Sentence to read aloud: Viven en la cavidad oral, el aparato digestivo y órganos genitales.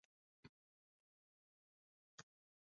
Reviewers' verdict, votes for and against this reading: rejected, 0, 2